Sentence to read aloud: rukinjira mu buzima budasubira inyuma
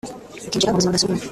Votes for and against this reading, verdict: 0, 2, rejected